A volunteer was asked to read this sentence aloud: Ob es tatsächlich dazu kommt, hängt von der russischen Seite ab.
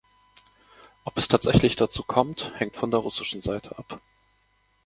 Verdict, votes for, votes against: accepted, 2, 0